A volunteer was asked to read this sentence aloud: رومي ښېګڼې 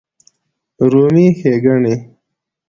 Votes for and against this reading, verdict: 2, 1, accepted